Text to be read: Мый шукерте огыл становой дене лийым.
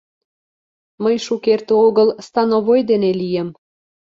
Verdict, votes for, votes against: accepted, 2, 0